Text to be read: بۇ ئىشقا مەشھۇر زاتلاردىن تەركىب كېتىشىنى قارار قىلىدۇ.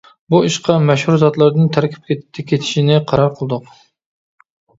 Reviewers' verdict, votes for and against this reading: rejected, 1, 2